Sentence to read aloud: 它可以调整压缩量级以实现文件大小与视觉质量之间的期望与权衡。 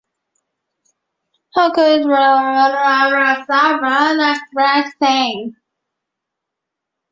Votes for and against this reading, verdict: 0, 2, rejected